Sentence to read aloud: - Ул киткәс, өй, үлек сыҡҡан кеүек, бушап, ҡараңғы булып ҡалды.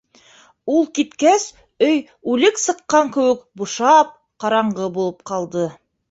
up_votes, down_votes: 2, 0